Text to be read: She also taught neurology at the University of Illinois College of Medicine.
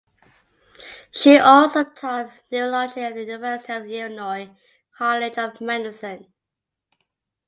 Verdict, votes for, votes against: accepted, 2, 1